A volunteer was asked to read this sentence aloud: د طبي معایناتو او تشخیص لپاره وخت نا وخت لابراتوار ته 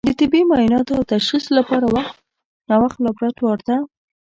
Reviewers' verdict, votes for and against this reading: rejected, 1, 2